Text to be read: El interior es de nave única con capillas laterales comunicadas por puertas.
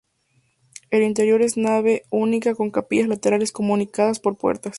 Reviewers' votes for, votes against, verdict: 0, 2, rejected